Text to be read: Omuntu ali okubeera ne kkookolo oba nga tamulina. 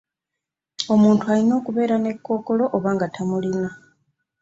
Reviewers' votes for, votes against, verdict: 2, 1, accepted